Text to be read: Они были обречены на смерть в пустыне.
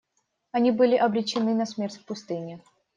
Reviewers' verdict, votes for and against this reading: accepted, 2, 0